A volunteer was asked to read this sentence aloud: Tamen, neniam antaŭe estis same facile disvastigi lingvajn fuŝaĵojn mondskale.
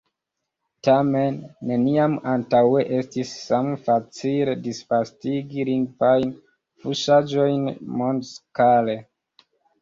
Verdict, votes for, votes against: rejected, 1, 2